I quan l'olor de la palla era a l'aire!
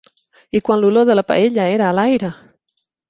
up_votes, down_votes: 1, 2